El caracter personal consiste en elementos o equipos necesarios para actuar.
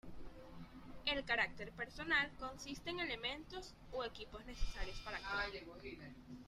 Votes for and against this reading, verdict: 0, 2, rejected